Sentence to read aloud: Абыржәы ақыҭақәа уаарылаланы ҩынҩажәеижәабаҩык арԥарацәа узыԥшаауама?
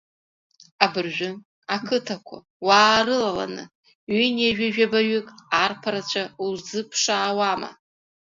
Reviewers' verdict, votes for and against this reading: accepted, 2, 0